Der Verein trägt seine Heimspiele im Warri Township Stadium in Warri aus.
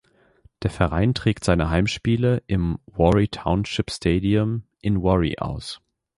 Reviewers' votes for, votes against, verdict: 2, 0, accepted